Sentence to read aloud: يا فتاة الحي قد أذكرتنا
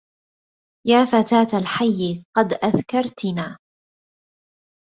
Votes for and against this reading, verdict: 2, 0, accepted